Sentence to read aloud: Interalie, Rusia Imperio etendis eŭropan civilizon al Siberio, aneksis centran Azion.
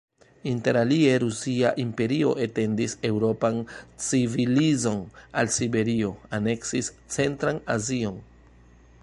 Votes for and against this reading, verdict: 1, 2, rejected